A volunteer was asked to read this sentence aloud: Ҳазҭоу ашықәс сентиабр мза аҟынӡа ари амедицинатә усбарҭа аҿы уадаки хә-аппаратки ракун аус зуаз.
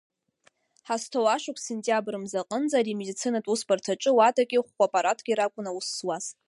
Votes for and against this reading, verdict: 2, 1, accepted